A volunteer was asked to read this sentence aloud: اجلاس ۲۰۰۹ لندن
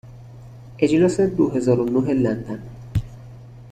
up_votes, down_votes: 0, 2